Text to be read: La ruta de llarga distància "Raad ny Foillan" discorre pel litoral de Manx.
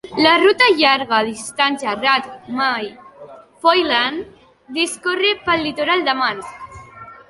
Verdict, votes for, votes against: rejected, 0, 3